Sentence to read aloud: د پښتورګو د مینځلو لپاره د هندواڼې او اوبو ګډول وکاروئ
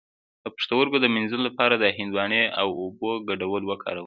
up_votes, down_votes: 2, 0